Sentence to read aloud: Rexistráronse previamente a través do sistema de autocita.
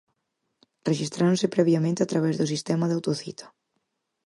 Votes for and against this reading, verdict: 4, 0, accepted